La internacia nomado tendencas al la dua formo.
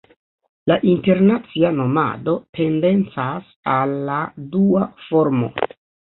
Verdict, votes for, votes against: rejected, 1, 2